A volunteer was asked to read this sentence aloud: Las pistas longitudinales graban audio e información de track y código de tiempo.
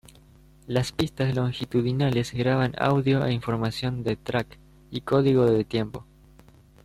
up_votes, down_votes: 2, 0